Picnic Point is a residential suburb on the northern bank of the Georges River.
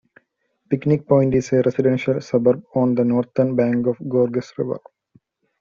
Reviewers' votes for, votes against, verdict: 2, 1, accepted